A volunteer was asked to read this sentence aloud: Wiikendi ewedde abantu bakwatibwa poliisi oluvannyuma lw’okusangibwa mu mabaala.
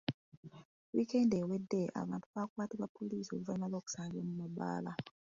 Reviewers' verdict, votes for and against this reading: rejected, 0, 2